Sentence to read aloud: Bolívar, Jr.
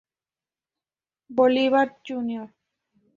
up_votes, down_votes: 2, 0